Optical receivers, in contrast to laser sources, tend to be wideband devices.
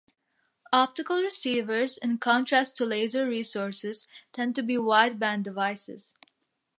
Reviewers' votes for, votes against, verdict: 0, 2, rejected